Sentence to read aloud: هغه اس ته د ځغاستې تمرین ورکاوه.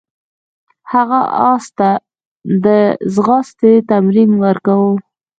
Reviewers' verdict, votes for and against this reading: rejected, 1, 2